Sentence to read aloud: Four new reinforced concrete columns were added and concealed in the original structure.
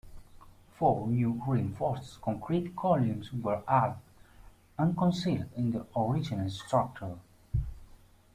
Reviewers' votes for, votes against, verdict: 0, 2, rejected